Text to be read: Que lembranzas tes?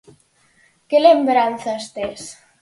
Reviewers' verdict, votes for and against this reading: accepted, 4, 0